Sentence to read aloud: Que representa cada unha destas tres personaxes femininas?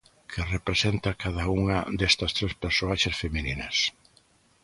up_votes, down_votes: 0, 2